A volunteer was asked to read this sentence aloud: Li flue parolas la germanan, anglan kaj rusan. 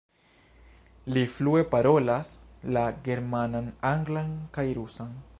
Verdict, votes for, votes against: rejected, 1, 2